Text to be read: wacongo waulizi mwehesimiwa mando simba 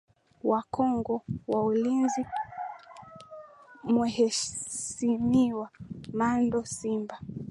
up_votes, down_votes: 3, 1